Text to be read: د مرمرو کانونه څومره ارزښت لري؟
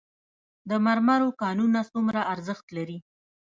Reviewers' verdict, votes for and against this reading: rejected, 0, 2